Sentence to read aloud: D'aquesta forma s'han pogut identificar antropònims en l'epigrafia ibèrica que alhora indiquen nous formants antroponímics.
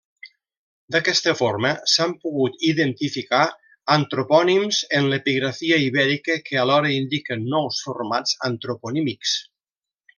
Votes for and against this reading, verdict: 1, 2, rejected